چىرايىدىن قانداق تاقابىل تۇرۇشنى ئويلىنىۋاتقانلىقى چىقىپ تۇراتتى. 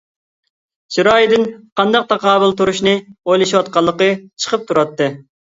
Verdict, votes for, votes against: accepted, 2, 1